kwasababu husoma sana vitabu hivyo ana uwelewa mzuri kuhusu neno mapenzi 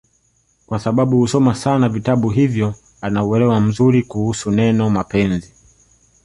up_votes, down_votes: 3, 2